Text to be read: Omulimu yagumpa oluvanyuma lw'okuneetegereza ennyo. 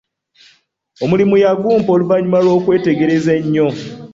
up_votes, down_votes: 2, 1